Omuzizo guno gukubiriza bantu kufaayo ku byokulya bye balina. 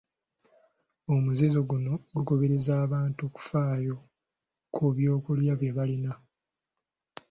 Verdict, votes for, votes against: rejected, 0, 2